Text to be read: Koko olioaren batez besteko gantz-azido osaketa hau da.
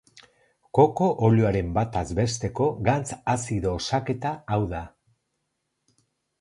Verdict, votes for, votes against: rejected, 2, 2